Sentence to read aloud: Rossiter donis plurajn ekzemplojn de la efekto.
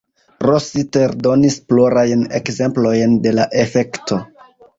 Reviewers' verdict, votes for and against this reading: rejected, 0, 2